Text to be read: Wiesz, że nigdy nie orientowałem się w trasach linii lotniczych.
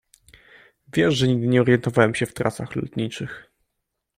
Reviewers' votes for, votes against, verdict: 0, 2, rejected